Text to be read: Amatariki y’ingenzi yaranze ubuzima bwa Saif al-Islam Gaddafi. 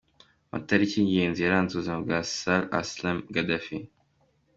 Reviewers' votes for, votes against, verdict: 2, 0, accepted